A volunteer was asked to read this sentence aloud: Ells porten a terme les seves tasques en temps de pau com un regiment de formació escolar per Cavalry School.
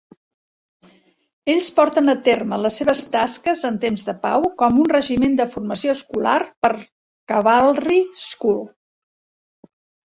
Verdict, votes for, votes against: rejected, 1, 2